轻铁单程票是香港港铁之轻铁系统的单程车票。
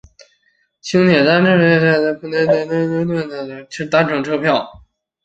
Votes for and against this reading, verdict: 0, 4, rejected